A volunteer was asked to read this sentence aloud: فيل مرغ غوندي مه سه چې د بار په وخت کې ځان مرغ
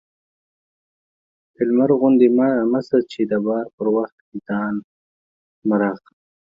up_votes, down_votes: 0, 4